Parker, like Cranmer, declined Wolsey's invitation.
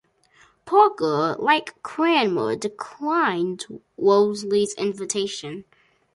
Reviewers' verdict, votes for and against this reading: accepted, 2, 1